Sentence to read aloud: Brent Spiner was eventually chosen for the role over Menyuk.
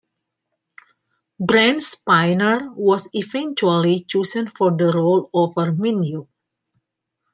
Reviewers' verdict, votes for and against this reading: accepted, 2, 0